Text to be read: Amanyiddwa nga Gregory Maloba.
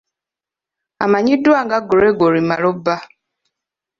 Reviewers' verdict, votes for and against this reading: accepted, 3, 0